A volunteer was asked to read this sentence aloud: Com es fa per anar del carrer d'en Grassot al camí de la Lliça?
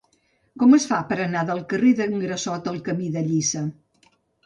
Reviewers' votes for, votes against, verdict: 1, 2, rejected